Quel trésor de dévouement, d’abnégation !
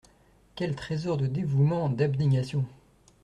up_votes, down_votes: 2, 0